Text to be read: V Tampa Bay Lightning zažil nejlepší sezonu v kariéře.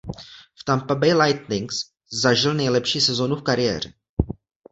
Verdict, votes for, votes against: rejected, 0, 2